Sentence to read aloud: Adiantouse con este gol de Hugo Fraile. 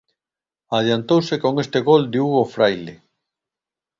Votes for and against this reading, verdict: 2, 0, accepted